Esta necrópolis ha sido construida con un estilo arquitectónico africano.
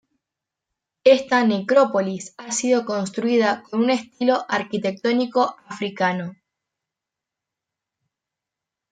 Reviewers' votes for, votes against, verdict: 1, 2, rejected